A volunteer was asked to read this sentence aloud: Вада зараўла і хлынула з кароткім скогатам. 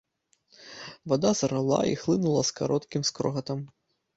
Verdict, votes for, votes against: rejected, 0, 2